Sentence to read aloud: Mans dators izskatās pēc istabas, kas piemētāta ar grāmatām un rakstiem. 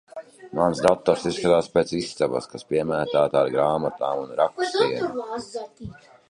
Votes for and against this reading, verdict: 0, 2, rejected